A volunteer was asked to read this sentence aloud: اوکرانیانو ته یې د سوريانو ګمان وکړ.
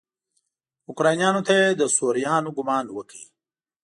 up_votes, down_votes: 2, 0